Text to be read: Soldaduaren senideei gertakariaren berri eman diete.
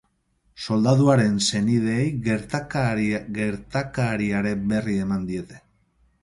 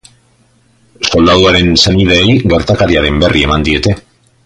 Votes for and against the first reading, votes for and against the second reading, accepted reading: 0, 6, 2, 0, second